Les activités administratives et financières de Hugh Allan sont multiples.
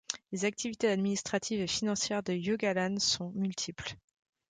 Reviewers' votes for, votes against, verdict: 2, 0, accepted